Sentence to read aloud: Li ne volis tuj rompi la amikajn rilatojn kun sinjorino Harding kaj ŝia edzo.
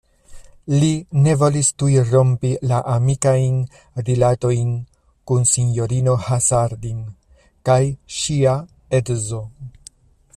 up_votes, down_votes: 0, 2